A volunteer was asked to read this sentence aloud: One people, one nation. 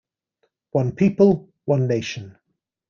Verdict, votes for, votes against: accepted, 2, 0